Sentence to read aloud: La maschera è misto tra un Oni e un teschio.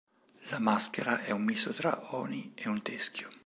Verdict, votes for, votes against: rejected, 0, 2